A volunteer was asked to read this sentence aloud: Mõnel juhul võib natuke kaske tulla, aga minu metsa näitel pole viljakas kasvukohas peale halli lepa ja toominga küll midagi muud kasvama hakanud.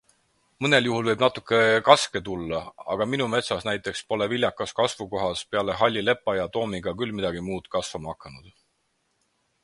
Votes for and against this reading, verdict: 4, 0, accepted